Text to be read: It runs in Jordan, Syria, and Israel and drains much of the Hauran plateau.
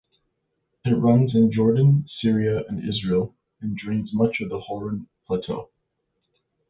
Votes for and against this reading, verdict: 2, 0, accepted